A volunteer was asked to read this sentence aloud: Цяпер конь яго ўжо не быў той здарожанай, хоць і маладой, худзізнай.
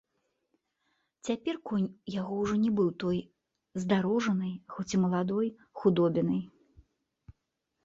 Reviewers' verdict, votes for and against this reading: rejected, 0, 2